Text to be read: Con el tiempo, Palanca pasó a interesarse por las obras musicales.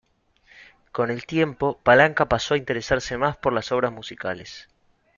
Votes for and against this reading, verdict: 0, 2, rejected